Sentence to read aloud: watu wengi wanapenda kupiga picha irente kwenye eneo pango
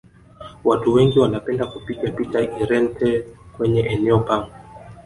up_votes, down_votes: 1, 2